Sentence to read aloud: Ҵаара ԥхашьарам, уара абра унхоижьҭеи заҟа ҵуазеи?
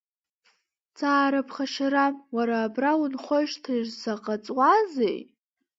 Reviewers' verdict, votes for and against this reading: accepted, 2, 0